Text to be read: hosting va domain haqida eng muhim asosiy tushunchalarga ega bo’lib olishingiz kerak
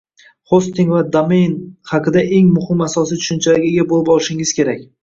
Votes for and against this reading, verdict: 1, 2, rejected